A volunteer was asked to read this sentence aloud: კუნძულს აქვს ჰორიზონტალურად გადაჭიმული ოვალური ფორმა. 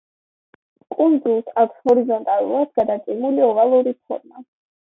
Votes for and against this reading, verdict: 2, 0, accepted